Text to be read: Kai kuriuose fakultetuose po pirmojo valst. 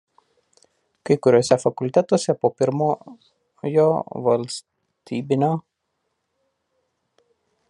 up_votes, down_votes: 0, 2